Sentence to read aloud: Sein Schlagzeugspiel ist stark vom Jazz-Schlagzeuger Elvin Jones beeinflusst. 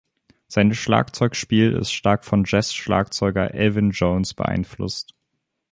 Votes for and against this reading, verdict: 3, 1, accepted